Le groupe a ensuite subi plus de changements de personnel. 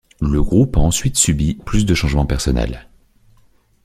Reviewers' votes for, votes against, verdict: 1, 2, rejected